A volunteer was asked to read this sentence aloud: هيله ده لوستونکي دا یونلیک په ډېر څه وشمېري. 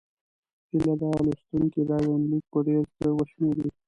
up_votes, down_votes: 0, 2